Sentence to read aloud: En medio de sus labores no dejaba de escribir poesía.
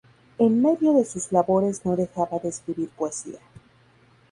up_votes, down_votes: 2, 0